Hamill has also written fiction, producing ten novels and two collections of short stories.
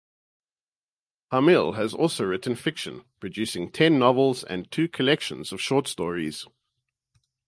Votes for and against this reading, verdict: 2, 0, accepted